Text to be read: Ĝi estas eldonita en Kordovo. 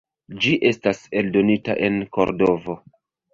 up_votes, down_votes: 0, 2